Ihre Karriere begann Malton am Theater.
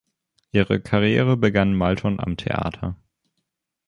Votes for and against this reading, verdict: 2, 0, accepted